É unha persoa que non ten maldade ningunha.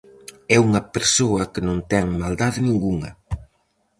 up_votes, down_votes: 4, 0